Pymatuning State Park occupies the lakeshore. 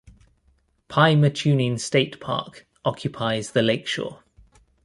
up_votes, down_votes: 2, 1